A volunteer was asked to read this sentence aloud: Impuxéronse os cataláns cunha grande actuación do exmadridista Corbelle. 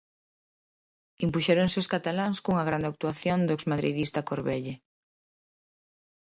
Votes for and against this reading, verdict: 2, 0, accepted